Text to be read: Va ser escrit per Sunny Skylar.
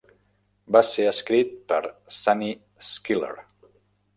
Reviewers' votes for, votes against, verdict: 0, 2, rejected